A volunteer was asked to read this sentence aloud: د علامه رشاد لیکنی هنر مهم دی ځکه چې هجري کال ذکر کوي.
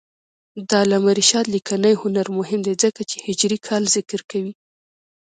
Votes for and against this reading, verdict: 2, 0, accepted